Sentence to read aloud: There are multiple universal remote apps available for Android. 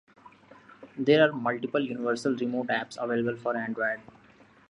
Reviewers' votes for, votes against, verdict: 2, 0, accepted